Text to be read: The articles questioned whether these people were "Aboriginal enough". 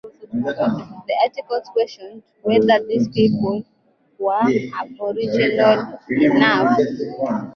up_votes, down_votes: 2, 4